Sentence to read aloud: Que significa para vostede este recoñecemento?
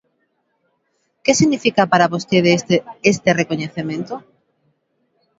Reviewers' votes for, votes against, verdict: 1, 2, rejected